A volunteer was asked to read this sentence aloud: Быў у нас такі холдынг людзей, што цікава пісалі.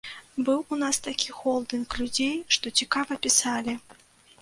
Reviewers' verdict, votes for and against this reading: accepted, 2, 0